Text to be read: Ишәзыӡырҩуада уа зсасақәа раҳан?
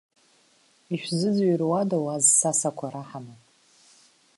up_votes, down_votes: 2, 0